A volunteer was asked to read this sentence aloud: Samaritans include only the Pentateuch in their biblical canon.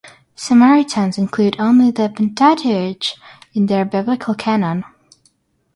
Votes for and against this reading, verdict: 6, 0, accepted